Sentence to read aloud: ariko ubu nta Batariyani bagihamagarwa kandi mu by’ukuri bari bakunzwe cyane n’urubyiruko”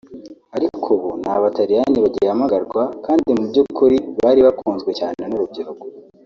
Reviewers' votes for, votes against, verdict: 1, 2, rejected